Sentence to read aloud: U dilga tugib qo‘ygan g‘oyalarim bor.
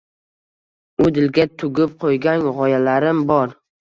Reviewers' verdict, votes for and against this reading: accepted, 2, 0